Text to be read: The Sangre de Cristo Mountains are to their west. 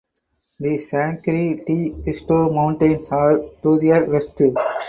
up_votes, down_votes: 2, 2